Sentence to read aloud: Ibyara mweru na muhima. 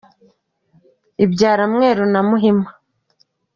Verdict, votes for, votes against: accepted, 2, 0